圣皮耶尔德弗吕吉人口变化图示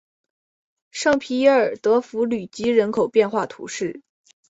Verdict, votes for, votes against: accepted, 3, 1